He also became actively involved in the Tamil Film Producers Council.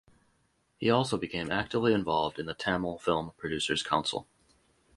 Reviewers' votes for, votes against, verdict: 2, 0, accepted